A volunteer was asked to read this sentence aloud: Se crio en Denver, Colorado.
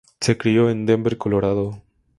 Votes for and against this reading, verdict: 2, 0, accepted